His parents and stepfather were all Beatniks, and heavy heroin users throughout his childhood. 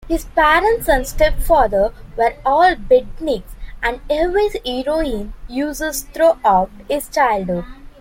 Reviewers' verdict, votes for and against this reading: rejected, 0, 2